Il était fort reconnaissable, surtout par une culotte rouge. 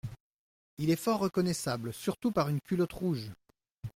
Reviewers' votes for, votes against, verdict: 0, 2, rejected